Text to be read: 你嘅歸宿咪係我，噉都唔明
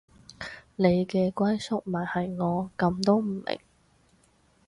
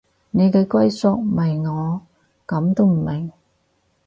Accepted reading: first